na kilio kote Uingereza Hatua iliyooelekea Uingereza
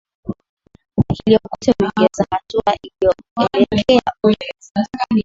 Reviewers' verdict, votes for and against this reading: rejected, 3, 4